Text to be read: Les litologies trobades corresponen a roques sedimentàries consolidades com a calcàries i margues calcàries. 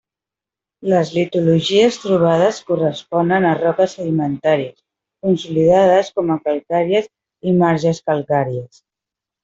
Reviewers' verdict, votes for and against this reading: rejected, 1, 2